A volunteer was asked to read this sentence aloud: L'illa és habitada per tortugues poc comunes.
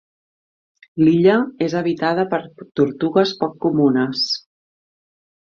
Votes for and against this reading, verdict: 1, 2, rejected